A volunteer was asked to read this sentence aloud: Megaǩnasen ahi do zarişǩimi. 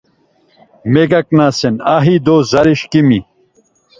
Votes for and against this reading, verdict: 2, 0, accepted